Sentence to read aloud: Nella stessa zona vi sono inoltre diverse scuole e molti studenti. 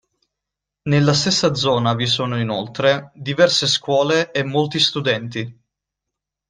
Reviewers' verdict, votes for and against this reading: accepted, 2, 0